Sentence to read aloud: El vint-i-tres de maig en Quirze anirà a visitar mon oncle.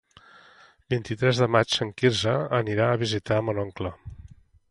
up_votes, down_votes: 1, 2